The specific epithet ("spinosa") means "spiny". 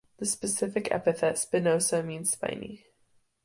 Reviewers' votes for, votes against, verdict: 2, 0, accepted